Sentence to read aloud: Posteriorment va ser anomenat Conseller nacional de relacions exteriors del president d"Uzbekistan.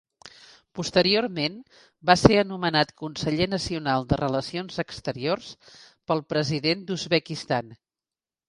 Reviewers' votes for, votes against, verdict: 1, 2, rejected